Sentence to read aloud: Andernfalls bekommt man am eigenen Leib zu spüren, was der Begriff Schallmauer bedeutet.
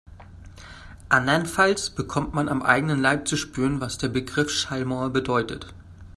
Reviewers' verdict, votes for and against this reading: accepted, 2, 0